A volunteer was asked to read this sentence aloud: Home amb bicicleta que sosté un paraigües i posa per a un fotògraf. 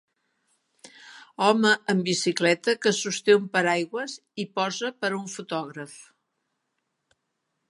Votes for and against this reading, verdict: 1, 2, rejected